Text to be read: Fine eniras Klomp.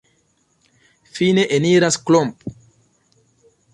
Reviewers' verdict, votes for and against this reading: accepted, 2, 0